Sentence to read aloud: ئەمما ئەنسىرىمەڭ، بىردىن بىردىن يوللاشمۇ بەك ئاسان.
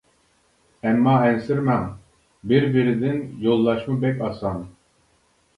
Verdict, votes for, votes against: rejected, 0, 2